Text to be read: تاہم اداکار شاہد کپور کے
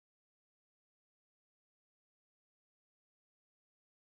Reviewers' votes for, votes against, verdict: 0, 4, rejected